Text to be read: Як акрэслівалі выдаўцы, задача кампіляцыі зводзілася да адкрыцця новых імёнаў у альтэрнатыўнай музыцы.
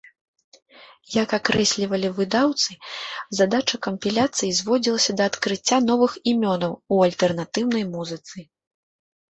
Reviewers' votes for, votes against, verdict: 1, 2, rejected